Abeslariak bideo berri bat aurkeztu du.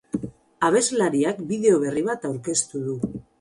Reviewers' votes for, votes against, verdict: 4, 0, accepted